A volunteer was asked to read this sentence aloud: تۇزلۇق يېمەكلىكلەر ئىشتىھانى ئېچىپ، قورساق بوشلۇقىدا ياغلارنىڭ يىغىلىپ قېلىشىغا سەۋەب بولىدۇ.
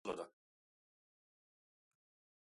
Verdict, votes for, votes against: rejected, 0, 2